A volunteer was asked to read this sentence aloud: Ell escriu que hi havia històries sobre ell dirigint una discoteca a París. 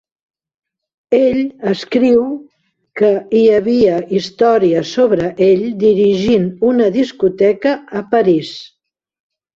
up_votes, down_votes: 3, 1